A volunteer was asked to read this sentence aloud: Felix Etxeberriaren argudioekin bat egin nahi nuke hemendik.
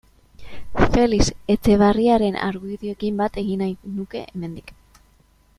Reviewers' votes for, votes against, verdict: 0, 2, rejected